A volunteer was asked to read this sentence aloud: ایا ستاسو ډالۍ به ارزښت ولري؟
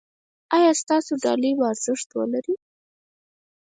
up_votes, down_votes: 2, 4